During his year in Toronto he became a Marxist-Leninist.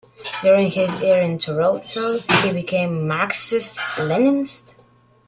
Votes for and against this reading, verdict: 0, 2, rejected